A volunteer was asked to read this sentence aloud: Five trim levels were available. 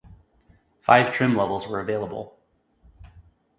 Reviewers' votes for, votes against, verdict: 2, 0, accepted